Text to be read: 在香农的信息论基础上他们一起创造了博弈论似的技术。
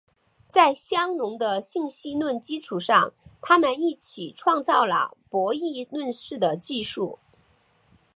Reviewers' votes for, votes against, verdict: 2, 1, accepted